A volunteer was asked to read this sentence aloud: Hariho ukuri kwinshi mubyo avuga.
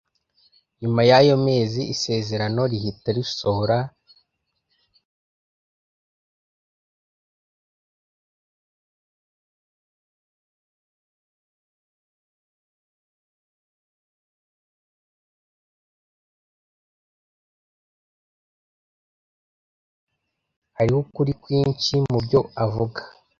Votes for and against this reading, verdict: 0, 2, rejected